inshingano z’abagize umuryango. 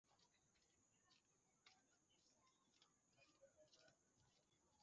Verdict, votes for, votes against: rejected, 0, 2